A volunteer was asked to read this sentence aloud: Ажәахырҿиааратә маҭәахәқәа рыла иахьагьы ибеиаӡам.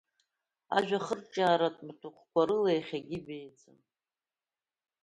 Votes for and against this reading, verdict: 2, 1, accepted